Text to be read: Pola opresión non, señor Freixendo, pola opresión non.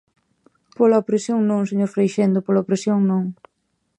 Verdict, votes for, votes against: accepted, 2, 0